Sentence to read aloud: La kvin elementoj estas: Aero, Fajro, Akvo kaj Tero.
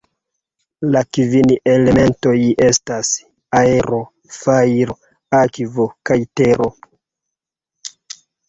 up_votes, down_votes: 2, 0